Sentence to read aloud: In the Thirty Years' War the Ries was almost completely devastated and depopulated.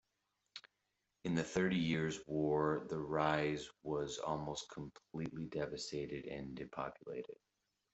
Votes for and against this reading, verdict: 2, 0, accepted